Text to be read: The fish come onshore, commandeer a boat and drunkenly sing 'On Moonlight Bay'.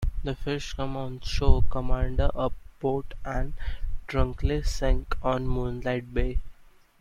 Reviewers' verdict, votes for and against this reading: rejected, 1, 2